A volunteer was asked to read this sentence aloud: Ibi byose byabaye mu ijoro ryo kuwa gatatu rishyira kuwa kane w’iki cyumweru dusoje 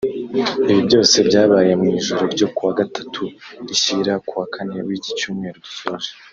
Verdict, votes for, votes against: accepted, 2, 0